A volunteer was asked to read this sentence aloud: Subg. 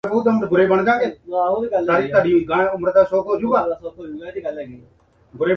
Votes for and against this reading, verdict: 0, 2, rejected